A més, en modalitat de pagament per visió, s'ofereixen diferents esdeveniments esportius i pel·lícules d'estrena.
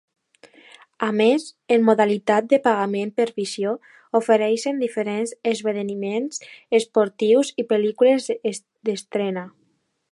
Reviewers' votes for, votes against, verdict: 1, 2, rejected